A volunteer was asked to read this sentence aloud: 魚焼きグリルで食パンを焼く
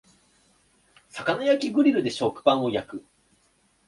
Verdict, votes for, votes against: accepted, 2, 0